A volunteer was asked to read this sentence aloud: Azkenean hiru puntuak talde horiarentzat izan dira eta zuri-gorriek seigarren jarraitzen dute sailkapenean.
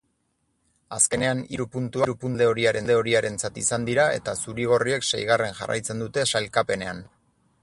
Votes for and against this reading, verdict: 0, 6, rejected